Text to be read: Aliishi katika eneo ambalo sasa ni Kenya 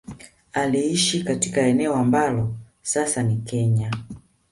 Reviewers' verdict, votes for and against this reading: rejected, 1, 2